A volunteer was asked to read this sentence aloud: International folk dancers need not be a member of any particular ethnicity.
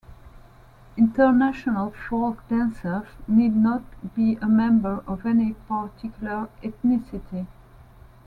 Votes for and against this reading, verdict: 2, 0, accepted